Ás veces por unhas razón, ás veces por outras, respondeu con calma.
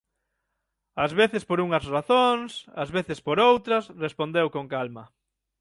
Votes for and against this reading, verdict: 3, 6, rejected